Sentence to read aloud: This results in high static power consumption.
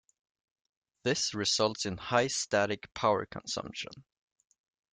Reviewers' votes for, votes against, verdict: 1, 2, rejected